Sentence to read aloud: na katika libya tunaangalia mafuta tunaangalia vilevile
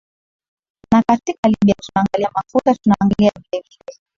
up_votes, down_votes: 1, 2